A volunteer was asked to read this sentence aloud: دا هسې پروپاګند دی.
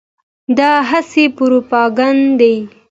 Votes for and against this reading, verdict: 2, 0, accepted